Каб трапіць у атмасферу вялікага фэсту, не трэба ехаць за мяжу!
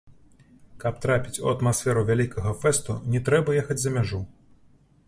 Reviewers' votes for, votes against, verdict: 2, 0, accepted